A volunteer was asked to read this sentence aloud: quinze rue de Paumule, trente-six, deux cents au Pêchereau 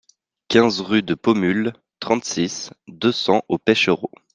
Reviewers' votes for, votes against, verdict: 2, 0, accepted